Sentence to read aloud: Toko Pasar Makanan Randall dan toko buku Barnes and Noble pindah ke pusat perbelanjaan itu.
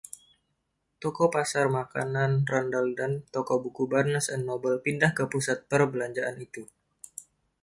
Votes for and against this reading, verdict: 2, 0, accepted